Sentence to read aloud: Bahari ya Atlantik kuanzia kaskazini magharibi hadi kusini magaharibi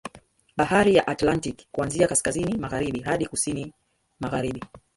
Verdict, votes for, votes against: rejected, 1, 3